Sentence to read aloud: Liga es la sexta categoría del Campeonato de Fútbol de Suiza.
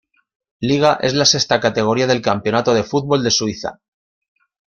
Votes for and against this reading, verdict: 2, 0, accepted